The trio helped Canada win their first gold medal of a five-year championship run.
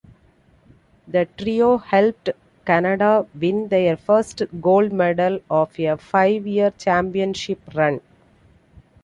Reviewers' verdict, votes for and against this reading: accepted, 2, 0